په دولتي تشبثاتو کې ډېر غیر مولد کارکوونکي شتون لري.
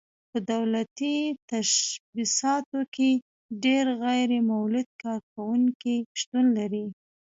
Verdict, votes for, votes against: rejected, 1, 2